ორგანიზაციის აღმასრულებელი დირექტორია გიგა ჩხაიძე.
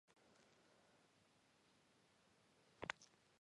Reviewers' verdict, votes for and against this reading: rejected, 0, 2